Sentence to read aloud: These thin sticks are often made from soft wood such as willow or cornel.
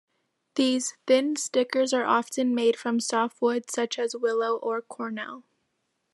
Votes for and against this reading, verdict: 1, 2, rejected